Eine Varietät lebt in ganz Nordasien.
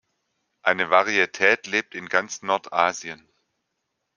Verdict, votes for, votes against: accepted, 2, 0